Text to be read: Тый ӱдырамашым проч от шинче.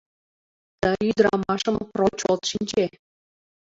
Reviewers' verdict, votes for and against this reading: rejected, 1, 2